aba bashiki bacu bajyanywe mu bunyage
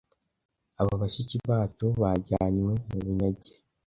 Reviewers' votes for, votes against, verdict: 2, 0, accepted